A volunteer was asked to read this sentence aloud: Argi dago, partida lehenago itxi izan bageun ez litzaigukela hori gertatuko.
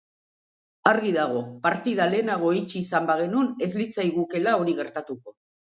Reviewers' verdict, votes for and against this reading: rejected, 0, 2